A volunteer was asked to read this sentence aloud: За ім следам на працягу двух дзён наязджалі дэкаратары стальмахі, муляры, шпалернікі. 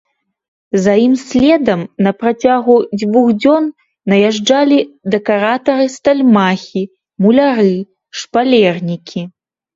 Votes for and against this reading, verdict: 2, 0, accepted